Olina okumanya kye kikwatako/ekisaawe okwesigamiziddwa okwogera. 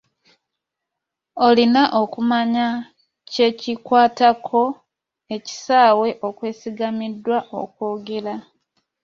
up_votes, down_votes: 2, 1